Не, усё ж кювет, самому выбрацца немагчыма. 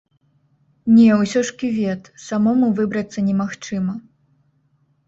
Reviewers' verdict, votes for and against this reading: accepted, 2, 0